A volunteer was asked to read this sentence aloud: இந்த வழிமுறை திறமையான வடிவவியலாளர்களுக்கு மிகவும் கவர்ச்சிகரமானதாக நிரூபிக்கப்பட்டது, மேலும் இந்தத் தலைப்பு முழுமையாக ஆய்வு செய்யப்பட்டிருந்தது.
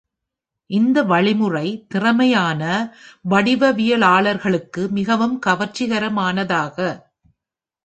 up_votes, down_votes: 0, 2